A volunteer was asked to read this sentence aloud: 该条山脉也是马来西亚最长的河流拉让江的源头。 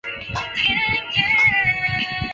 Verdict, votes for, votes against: rejected, 1, 4